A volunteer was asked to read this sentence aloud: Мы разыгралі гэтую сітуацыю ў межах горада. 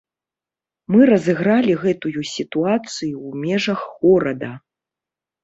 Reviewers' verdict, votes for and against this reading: accepted, 2, 0